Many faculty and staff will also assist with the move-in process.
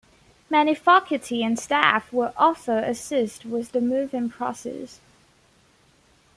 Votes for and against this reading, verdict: 2, 1, accepted